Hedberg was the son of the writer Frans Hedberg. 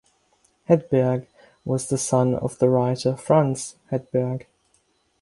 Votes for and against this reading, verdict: 6, 0, accepted